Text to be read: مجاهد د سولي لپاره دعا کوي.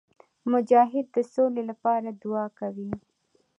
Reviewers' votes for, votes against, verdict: 2, 0, accepted